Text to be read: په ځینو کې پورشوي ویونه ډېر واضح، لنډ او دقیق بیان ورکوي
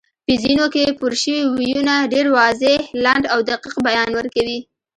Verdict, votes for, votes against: accepted, 2, 1